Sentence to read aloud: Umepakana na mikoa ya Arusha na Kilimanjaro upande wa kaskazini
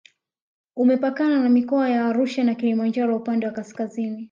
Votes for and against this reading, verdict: 2, 0, accepted